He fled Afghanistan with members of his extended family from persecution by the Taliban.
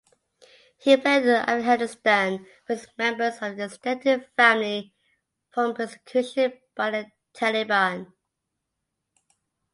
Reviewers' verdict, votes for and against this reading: rejected, 1, 2